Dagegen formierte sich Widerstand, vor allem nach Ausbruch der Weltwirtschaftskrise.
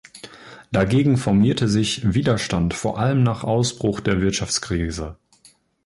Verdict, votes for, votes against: rejected, 1, 2